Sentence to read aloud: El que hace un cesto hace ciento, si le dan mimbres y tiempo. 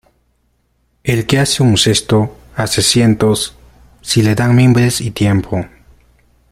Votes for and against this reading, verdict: 0, 2, rejected